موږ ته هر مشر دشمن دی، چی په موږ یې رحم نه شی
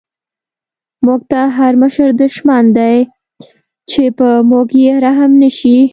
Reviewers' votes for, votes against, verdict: 2, 0, accepted